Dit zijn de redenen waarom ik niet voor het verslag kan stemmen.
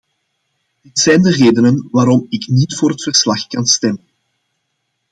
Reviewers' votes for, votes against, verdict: 0, 2, rejected